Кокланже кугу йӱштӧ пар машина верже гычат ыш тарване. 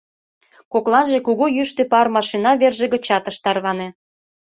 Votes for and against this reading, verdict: 2, 0, accepted